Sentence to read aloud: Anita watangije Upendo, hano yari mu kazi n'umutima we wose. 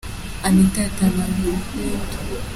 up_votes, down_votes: 0, 2